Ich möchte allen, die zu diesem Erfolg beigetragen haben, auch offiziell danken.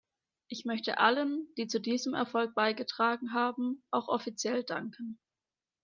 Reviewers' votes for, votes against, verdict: 2, 0, accepted